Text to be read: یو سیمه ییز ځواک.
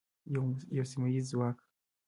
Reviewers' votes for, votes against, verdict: 1, 2, rejected